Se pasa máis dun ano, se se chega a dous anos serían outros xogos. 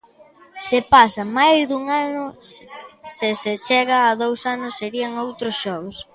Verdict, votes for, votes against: rejected, 0, 2